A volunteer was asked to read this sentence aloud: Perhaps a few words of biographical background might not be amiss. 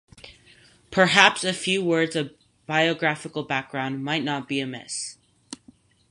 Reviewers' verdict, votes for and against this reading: rejected, 2, 2